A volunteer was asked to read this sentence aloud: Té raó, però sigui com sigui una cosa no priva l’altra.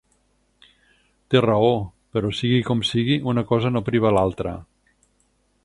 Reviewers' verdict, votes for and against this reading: accepted, 4, 0